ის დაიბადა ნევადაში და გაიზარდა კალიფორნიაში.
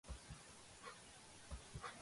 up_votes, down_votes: 0, 2